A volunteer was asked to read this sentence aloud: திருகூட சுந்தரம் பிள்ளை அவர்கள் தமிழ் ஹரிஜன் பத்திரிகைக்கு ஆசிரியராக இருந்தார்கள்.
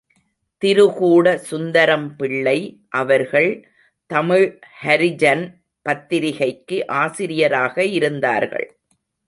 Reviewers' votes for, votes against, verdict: 2, 0, accepted